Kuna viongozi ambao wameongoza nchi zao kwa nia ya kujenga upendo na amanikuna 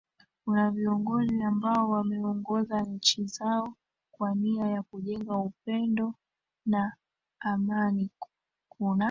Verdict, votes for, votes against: accepted, 2, 1